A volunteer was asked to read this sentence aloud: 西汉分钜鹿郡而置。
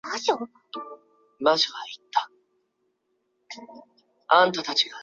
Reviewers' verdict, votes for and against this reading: rejected, 1, 3